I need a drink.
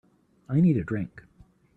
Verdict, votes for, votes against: accepted, 2, 1